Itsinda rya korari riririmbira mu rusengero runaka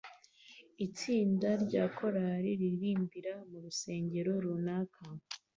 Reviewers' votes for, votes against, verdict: 2, 0, accepted